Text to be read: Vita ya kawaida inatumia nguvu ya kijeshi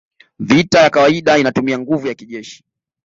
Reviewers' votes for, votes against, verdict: 2, 3, rejected